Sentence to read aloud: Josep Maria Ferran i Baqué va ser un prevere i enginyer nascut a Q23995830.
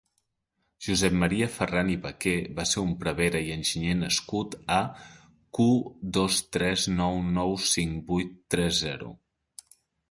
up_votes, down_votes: 0, 2